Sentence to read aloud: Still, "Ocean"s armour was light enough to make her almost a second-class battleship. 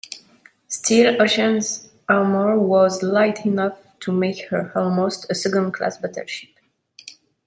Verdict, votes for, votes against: accepted, 2, 1